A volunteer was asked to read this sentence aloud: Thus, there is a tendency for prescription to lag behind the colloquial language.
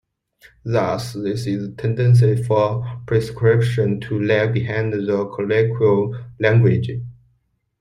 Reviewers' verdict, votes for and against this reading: rejected, 0, 2